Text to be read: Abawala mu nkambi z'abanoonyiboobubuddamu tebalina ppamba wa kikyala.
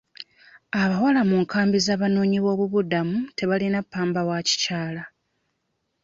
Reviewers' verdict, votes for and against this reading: accepted, 2, 0